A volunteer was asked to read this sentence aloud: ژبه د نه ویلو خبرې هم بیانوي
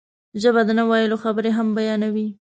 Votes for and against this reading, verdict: 2, 0, accepted